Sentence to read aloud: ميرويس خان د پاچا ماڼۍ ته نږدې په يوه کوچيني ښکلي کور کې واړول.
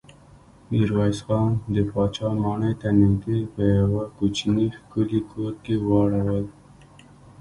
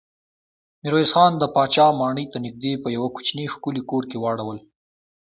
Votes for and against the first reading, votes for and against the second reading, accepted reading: 0, 2, 2, 1, second